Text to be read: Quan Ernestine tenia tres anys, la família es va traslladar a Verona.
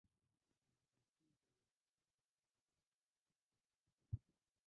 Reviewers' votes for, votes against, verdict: 0, 2, rejected